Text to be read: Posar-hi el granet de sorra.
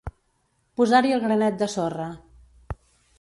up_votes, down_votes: 2, 0